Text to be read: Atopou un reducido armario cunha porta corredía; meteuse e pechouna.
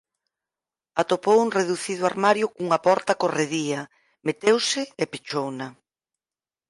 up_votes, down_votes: 4, 0